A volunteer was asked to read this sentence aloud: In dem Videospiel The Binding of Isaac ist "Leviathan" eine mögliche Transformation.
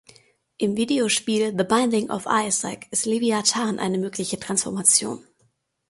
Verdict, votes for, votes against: rejected, 0, 2